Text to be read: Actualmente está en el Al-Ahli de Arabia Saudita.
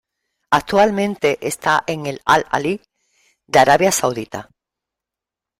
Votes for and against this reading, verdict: 3, 0, accepted